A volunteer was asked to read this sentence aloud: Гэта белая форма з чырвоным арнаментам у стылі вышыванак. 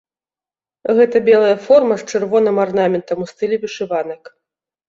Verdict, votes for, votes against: accepted, 2, 0